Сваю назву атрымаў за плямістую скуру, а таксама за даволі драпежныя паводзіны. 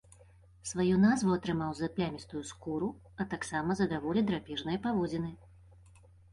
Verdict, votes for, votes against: accepted, 2, 0